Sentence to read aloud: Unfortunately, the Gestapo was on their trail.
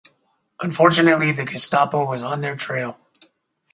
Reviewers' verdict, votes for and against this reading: accepted, 4, 0